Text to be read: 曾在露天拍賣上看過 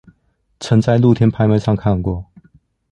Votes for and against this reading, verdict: 2, 0, accepted